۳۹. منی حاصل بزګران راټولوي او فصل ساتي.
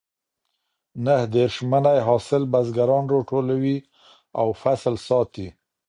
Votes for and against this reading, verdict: 0, 2, rejected